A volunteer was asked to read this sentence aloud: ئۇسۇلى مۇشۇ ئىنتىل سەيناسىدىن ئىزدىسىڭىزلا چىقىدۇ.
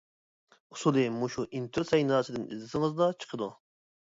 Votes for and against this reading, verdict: 2, 0, accepted